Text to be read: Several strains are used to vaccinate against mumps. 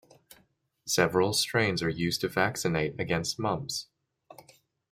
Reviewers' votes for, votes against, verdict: 2, 0, accepted